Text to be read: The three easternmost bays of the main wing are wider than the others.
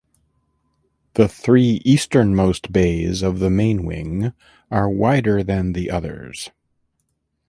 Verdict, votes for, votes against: accepted, 3, 1